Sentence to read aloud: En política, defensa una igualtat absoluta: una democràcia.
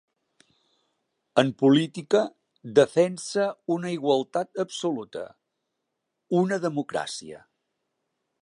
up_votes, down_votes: 3, 0